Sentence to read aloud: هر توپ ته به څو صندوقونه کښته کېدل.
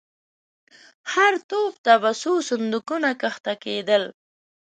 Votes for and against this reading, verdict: 0, 2, rejected